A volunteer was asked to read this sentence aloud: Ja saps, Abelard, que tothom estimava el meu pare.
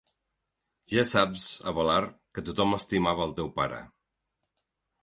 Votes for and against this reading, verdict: 0, 2, rejected